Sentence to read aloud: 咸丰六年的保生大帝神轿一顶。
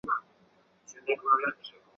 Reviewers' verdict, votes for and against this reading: rejected, 1, 4